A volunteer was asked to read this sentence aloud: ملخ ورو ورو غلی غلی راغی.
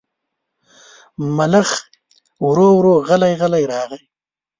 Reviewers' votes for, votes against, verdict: 3, 0, accepted